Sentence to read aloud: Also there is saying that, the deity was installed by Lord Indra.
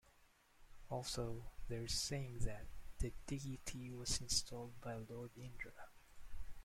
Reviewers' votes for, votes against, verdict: 0, 2, rejected